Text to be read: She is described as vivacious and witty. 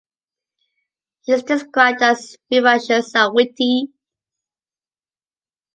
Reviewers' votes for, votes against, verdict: 0, 2, rejected